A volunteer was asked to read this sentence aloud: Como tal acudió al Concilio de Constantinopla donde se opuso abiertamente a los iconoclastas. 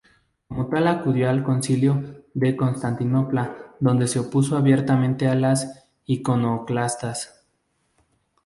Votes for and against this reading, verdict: 2, 2, rejected